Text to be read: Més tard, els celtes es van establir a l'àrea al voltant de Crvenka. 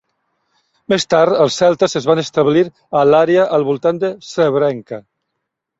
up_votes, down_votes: 0, 2